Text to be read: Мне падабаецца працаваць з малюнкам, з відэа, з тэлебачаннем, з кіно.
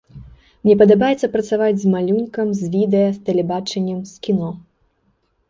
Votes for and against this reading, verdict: 2, 0, accepted